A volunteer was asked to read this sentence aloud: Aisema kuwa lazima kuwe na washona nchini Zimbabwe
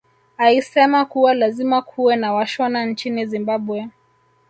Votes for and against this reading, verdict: 1, 2, rejected